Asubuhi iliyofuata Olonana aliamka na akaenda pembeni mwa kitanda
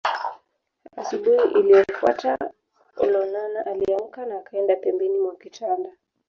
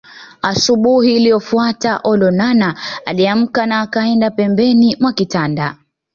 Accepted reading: second